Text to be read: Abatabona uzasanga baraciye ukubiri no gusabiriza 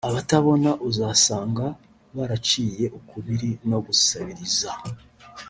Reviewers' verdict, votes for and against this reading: accepted, 2, 0